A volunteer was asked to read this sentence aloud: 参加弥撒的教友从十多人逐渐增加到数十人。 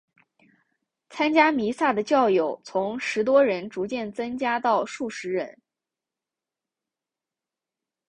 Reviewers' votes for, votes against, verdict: 2, 1, accepted